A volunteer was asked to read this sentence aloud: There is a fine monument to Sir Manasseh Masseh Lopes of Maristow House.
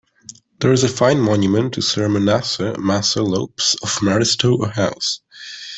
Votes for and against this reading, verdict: 2, 1, accepted